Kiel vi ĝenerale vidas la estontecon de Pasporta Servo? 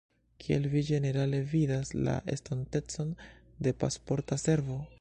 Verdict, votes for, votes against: accepted, 2, 0